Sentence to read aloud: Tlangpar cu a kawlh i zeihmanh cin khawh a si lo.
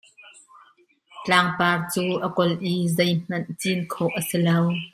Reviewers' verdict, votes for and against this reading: accepted, 2, 0